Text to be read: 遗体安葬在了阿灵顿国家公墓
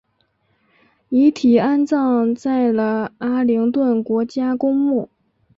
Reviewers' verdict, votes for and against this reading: accepted, 4, 0